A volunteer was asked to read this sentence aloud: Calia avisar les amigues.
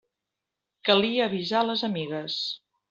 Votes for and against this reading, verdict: 2, 0, accepted